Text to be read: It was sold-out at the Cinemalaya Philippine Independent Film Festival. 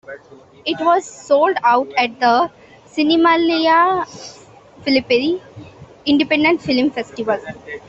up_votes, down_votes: 1, 2